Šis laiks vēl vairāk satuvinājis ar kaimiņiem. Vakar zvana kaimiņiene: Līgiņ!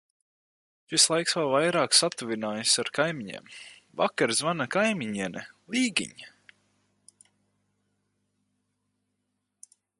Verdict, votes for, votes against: accepted, 4, 0